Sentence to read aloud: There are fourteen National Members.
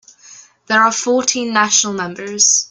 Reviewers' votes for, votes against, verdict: 2, 0, accepted